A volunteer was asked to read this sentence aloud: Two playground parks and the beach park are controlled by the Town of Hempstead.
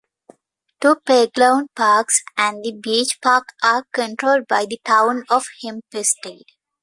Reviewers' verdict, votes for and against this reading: rejected, 1, 2